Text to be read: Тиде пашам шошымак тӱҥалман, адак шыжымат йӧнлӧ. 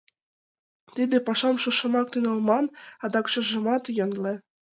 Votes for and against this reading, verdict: 2, 0, accepted